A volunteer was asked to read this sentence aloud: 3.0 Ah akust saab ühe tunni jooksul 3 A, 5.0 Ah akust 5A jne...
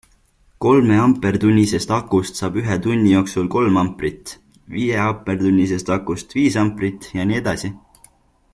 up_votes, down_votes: 0, 2